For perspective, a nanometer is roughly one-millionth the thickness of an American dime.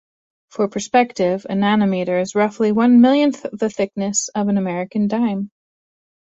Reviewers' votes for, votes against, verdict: 2, 0, accepted